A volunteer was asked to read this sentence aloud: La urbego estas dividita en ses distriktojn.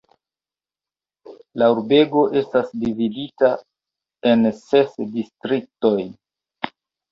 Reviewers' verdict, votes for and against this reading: accepted, 2, 0